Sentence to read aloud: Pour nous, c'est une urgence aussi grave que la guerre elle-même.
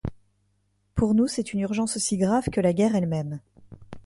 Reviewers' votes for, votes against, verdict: 2, 0, accepted